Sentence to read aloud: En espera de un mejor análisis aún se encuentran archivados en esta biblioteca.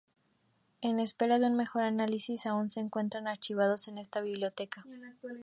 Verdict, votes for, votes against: accepted, 2, 0